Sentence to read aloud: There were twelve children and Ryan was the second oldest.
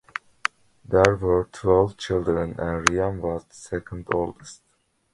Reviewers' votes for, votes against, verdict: 0, 2, rejected